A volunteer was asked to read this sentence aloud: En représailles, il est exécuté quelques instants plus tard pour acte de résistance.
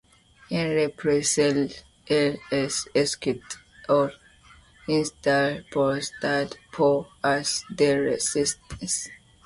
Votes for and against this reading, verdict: 1, 2, rejected